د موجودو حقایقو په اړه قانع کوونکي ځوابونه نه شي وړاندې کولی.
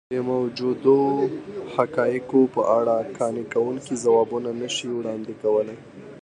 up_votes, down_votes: 2, 0